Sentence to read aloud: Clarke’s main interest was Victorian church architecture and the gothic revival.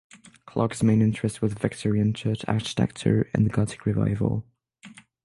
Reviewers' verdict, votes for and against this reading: rejected, 3, 6